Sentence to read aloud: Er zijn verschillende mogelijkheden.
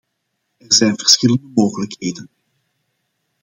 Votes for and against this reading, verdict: 2, 1, accepted